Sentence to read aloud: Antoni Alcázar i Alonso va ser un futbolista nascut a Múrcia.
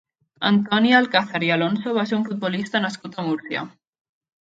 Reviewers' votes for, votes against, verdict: 1, 2, rejected